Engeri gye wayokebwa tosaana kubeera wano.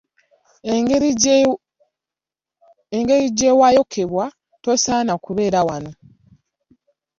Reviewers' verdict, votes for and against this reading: rejected, 0, 2